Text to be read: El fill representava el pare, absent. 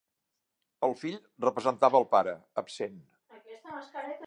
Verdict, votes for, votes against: rejected, 1, 2